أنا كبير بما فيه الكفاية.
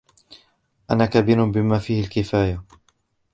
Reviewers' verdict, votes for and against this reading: rejected, 1, 2